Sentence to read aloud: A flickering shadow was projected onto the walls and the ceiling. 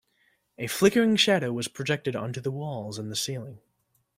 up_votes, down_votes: 2, 0